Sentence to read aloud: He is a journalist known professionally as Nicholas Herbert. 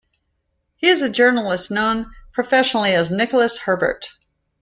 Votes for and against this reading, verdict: 2, 0, accepted